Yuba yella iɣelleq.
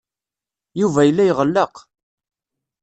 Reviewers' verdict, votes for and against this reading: accepted, 2, 0